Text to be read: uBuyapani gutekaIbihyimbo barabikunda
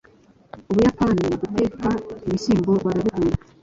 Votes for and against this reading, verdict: 0, 2, rejected